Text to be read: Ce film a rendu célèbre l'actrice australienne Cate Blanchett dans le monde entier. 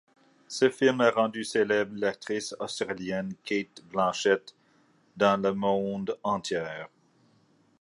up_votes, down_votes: 0, 2